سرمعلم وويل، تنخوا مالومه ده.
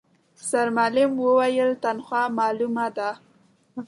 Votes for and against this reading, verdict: 2, 0, accepted